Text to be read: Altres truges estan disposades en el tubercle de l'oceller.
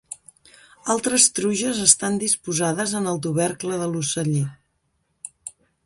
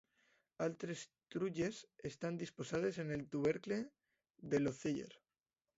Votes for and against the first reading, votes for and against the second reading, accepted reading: 2, 0, 0, 2, first